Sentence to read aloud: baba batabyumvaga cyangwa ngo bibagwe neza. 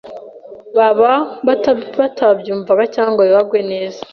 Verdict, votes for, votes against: rejected, 1, 2